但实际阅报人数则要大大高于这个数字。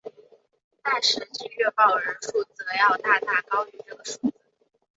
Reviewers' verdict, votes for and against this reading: rejected, 2, 4